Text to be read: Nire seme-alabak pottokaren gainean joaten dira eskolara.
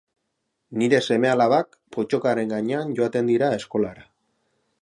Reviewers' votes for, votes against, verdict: 2, 2, rejected